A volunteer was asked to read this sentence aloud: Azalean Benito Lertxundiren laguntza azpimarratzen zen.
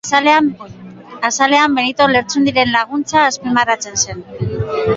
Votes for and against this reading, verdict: 1, 3, rejected